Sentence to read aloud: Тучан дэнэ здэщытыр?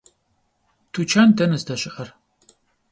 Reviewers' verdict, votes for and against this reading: rejected, 1, 2